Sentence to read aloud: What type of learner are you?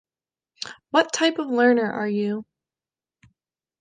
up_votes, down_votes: 2, 0